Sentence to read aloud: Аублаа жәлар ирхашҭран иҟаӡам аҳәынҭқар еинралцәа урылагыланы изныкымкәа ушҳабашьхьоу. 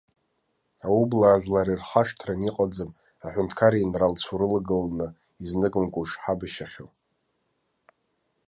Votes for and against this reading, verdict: 0, 2, rejected